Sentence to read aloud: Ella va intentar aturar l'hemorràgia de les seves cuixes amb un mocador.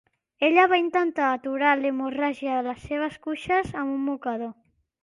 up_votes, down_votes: 2, 0